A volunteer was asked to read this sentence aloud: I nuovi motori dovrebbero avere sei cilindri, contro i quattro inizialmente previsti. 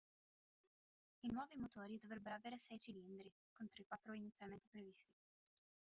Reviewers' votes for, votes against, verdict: 0, 2, rejected